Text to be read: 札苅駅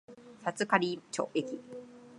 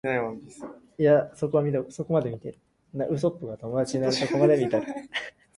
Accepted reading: first